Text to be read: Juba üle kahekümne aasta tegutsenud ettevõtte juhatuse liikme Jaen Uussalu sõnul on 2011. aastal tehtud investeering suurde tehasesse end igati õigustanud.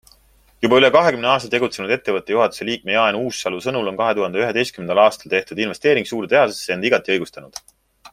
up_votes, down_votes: 0, 2